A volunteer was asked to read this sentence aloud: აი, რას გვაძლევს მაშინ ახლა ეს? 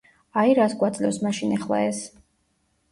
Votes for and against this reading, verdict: 0, 2, rejected